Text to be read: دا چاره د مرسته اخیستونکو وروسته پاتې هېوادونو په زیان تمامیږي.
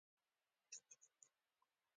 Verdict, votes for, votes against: accepted, 2, 1